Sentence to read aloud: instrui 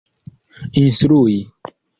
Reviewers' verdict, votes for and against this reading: rejected, 0, 2